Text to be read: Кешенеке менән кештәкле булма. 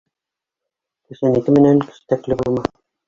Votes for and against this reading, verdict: 1, 2, rejected